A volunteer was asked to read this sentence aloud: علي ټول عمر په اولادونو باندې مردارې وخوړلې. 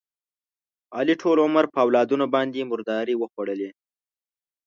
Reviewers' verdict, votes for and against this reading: accepted, 2, 0